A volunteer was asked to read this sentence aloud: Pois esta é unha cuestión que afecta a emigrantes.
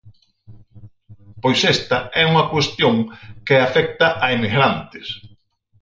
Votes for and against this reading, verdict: 4, 0, accepted